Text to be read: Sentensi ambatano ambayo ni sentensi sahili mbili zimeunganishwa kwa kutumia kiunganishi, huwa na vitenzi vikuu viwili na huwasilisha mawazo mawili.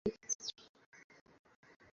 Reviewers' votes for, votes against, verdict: 0, 2, rejected